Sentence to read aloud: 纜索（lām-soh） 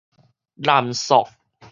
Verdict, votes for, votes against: rejected, 2, 2